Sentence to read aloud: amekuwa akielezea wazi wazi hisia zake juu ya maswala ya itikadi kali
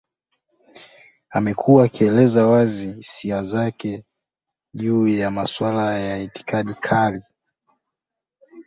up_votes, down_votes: 0, 2